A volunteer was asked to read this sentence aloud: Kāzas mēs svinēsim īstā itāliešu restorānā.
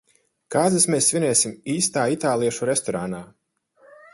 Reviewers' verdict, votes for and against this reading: rejected, 2, 4